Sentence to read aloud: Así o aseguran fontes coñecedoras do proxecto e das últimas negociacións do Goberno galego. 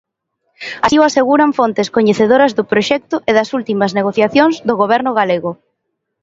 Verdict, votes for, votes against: accepted, 2, 0